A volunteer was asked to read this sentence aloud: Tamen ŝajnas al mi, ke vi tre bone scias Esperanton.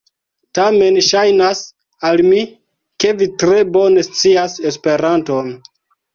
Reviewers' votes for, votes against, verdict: 2, 1, accepted